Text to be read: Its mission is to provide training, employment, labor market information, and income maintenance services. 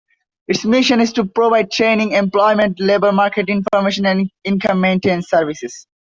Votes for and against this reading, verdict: 2, 0, accepted